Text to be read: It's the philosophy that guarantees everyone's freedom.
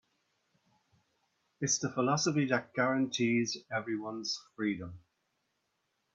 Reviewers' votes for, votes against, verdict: 3, 0, accepted